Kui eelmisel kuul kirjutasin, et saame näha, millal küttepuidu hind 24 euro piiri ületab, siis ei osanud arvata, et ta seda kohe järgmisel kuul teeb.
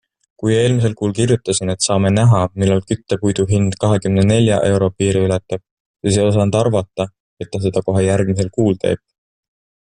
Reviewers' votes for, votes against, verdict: 0, 2, rejected